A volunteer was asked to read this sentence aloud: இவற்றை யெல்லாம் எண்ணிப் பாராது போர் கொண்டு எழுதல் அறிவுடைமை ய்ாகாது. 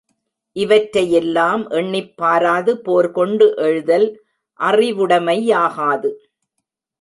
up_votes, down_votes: 1, 2